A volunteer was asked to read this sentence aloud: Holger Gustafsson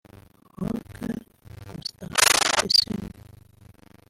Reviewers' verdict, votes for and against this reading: rejected, 0, 2